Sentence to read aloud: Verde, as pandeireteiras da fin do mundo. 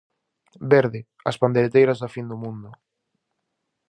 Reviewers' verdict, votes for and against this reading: rejected, 2, 2